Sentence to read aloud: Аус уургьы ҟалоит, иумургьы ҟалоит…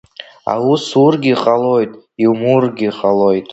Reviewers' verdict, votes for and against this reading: accepted, 2, 0